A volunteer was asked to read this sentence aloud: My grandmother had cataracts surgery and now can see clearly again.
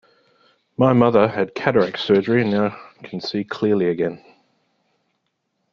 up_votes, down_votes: 2, 1